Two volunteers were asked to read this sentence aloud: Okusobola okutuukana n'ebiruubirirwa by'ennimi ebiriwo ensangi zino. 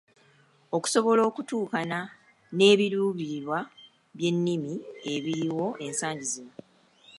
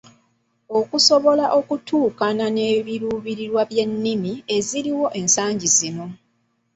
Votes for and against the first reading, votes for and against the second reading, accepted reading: 2, 0, 1, 2, first